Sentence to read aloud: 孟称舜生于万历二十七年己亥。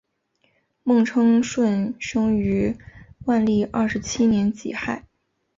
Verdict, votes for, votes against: accepted, 4, 0